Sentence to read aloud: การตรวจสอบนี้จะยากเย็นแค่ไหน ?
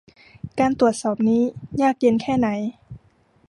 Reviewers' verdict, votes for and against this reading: rejected, 1, 2